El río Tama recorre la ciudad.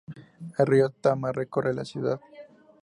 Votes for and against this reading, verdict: 6, 0, accepted